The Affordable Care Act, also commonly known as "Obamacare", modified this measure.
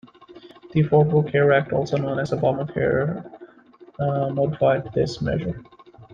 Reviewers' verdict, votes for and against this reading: rejected, 0, 2